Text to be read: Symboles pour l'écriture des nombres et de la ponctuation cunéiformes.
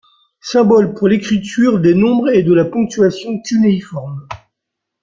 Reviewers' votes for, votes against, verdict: 2, 0, accepted